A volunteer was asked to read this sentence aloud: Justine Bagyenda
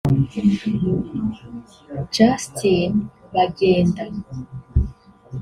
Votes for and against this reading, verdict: 1, 2, rejected